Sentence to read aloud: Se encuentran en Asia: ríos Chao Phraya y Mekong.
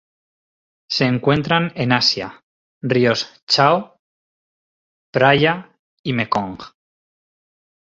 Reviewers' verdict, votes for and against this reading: rejected, 0, 2